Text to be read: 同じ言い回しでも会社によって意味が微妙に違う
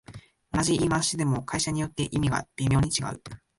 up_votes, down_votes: 0, 2